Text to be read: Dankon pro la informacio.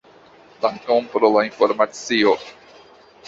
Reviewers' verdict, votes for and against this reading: rejected, 1, 2